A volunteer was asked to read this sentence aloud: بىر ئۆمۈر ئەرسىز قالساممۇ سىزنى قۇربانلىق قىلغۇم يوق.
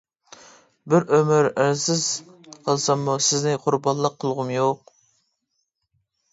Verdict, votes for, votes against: accepted, 2, 0